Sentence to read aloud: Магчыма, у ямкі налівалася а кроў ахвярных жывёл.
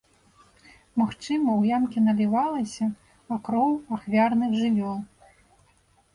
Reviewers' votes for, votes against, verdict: 2, 0, accepted